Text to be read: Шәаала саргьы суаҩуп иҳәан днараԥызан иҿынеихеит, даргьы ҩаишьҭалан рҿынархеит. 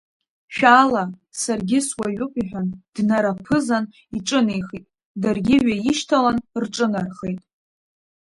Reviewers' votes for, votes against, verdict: 2, 1, accepted